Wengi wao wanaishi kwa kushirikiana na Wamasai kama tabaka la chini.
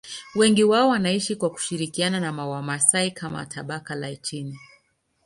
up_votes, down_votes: 2, 0